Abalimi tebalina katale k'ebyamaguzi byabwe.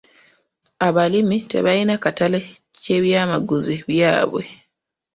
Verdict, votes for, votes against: rejected, 1, 2